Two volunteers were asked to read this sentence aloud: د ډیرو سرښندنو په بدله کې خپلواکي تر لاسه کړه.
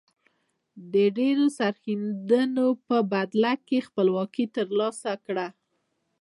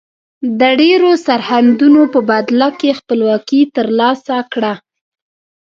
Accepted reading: first